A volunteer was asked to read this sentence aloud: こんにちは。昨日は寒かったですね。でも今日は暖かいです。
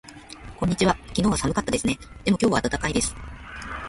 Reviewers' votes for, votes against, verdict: 1, 2, rejected